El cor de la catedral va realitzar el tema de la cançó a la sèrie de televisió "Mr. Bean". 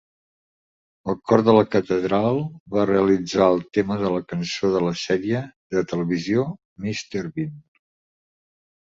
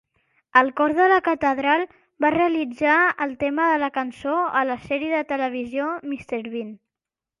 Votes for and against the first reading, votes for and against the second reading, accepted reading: 1, 2, 2, 0, second